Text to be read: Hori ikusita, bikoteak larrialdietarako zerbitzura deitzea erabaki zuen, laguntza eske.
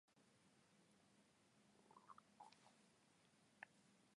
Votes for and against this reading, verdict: 0, 2, rejected